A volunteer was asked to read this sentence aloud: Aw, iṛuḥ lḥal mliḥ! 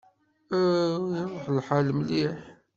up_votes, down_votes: 2, 0